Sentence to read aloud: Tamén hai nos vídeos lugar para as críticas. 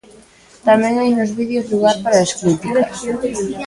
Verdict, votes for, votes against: rejected, 1, 2